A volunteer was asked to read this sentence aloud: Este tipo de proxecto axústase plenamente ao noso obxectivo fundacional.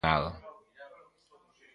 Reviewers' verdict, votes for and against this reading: rejected, 0, 2